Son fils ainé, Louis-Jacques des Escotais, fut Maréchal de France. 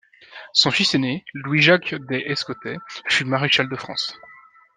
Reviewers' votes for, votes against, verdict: 2, 0, accepted